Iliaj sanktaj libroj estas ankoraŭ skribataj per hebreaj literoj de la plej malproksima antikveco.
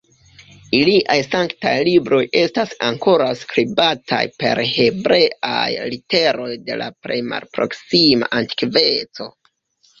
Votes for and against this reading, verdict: 0, 2, rejected